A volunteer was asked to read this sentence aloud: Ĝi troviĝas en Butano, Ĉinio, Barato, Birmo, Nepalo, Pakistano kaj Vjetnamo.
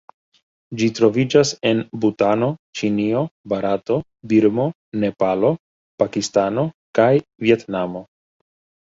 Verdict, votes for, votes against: rejected, 0, 2